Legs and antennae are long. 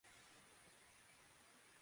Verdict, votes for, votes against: rejected, 0, 2